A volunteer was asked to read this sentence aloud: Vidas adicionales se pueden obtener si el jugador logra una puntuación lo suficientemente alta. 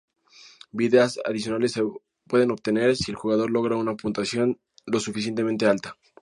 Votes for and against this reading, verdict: 2, 0, accepted